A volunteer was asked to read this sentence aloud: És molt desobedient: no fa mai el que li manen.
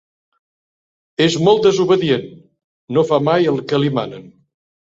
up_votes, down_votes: 3, 0